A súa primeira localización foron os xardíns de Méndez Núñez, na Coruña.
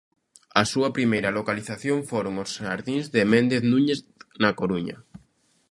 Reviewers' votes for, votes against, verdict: 2, 0, accepted